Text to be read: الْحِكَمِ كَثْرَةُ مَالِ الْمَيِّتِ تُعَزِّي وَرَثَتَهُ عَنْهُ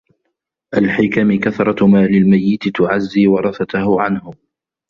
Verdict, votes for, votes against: accepted, 2, 0